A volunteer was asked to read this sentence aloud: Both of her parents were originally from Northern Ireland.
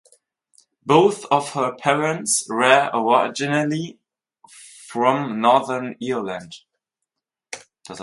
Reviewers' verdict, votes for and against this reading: rejected, 2, 2